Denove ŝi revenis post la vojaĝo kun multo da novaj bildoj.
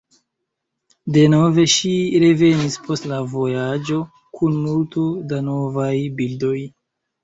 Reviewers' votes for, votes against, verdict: 0, 2, rejected